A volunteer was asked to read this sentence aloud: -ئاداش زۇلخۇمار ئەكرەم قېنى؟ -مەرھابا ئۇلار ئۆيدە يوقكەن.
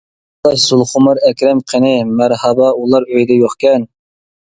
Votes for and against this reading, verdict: 0, 2, rejected